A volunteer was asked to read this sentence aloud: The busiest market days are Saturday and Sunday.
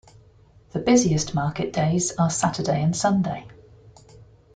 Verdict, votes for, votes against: rejected, 0, 2